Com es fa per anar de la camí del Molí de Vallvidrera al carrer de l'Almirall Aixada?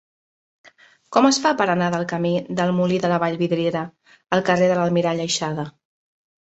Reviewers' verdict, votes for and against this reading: rejected, 1, 2